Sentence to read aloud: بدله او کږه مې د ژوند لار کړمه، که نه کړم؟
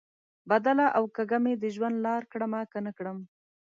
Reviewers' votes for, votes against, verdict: 2, 0, accepted